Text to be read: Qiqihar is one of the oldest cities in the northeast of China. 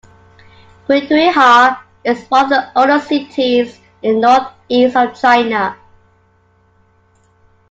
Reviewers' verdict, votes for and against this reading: rejected, 1, 2